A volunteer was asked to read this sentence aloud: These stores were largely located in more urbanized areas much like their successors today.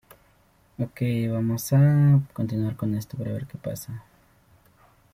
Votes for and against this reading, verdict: 0, 2, rejected